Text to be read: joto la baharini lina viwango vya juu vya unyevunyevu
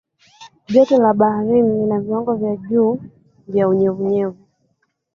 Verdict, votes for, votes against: rejected, 1, 2